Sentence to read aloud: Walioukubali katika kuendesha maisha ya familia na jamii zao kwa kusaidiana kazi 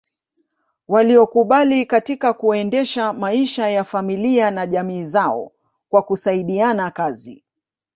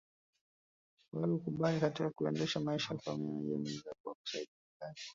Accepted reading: first